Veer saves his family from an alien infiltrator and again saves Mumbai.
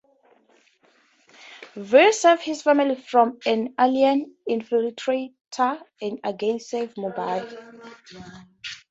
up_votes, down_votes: 2, 0